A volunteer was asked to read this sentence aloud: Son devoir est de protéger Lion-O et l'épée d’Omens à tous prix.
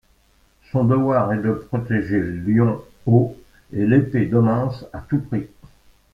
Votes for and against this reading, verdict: 2, 0, accepted